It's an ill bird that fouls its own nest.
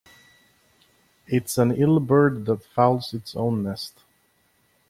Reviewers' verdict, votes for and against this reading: accepted, 2, 1